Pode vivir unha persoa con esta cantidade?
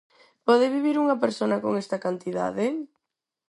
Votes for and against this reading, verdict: 0, 4, rejected